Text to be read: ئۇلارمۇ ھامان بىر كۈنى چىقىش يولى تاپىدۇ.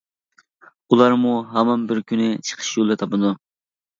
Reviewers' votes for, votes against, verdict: 2, 0, accepted